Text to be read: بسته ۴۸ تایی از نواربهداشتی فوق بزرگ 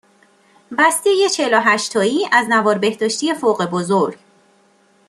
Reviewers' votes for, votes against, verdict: 0, 2, rejected